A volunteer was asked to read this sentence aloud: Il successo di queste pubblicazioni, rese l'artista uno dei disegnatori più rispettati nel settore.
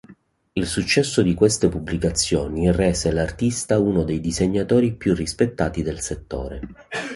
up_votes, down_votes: 1, 2